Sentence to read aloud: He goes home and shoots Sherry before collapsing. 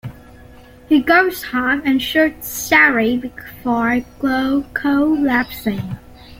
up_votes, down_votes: 0, 2